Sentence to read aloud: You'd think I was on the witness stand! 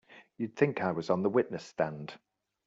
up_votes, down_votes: 2, 0